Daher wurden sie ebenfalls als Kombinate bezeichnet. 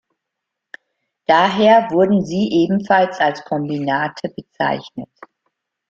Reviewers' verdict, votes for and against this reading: rejected, 1, 2